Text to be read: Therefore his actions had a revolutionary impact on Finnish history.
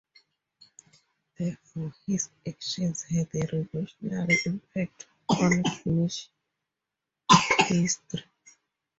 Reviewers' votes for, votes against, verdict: 4, 2, accepted